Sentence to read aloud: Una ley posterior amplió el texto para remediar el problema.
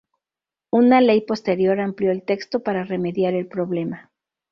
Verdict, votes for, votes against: accepted, 2, 0